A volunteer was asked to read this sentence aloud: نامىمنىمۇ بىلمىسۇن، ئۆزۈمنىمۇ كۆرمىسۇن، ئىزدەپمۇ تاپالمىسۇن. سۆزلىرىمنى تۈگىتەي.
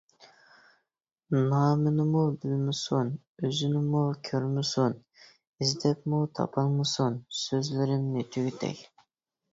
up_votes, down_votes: 0, 2